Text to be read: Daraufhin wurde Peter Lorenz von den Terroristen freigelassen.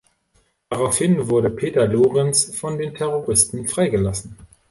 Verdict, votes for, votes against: accepted, 2, 0